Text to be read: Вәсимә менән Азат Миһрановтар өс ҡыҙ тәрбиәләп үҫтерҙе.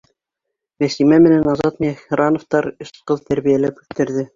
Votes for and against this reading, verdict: 1, 2, rejected